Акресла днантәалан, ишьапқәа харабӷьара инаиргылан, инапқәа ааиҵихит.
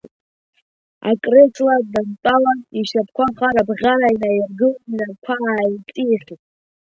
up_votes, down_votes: 0, 2